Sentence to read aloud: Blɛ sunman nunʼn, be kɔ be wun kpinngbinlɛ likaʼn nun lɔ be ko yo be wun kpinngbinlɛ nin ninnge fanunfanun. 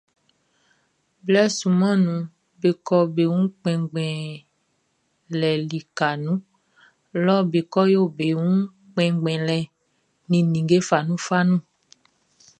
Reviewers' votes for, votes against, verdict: 2, 0, accepted